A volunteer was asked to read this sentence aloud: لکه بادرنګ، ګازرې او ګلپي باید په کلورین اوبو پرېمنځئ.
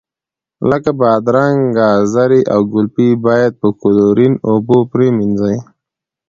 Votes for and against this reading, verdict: 0, 2, rejected